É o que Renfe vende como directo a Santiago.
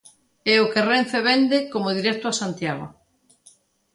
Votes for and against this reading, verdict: 2, 0, accepted